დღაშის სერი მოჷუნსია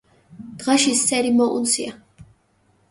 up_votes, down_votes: 0, 2